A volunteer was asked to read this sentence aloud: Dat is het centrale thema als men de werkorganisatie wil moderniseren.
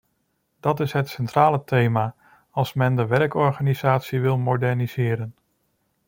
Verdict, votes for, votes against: accepted, 2, 0